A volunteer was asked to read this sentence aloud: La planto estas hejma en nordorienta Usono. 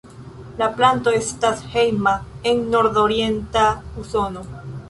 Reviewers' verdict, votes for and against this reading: accepted, 2, 0